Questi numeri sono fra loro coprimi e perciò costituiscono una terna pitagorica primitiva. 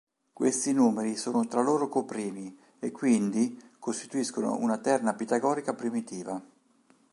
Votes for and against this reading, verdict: 1, 2, rejected